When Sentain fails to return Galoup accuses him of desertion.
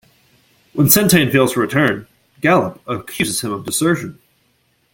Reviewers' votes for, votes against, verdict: 0, 2, rejected